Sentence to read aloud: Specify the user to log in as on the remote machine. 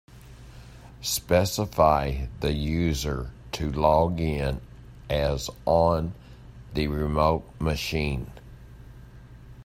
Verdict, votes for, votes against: accepted, 2, 0